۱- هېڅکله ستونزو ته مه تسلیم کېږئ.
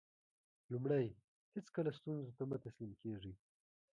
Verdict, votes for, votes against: rejected, 0, 2